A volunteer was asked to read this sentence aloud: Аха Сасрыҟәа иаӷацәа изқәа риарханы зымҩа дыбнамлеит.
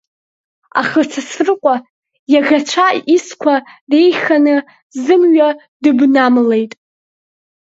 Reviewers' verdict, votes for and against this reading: rejected, 0, 2